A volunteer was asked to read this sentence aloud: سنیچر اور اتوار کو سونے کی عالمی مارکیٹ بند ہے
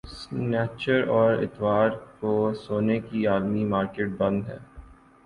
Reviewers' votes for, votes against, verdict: 2, 0, accepted